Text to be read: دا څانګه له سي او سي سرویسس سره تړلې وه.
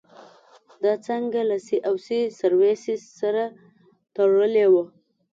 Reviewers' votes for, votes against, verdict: 2, 0, accepted